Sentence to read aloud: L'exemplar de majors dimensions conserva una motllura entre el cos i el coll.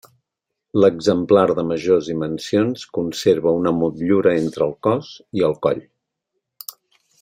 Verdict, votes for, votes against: accepted, 3, 0